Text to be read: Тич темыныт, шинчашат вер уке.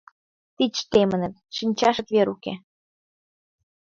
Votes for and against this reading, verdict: 1, 6, rejected